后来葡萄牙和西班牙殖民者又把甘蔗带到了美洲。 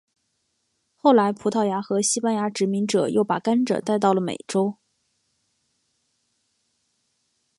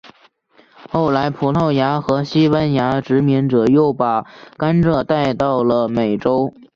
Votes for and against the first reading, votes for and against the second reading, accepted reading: 3, 0, 0, 2, first